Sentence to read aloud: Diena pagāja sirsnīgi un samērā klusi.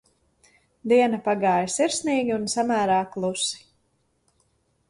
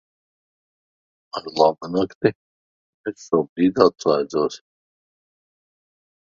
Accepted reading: first